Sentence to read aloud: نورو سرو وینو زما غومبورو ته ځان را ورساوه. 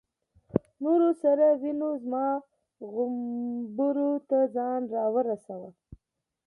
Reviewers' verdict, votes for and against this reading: accepted, 2, 1